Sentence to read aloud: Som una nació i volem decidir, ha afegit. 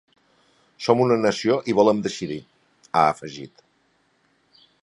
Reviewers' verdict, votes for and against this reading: accepted, 5, 0